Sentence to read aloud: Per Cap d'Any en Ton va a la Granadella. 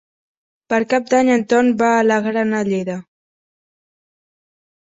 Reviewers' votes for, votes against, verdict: 0, 2, rejected